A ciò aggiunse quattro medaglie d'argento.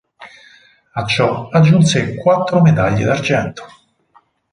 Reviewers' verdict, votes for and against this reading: accepted, 2, 0